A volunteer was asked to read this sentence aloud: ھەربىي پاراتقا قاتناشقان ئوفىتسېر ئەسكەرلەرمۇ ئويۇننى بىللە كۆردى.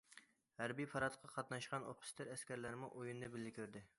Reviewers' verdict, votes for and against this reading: accepted, 2, 0